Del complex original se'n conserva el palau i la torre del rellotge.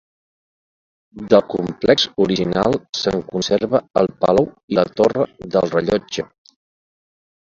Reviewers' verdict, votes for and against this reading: accepted, 2, 0